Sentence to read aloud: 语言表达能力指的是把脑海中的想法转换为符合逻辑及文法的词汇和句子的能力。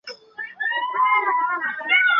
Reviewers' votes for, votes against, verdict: 0, 3, rejected